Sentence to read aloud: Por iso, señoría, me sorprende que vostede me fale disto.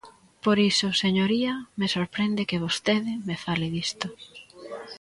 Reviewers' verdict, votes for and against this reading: rejected, 0, 2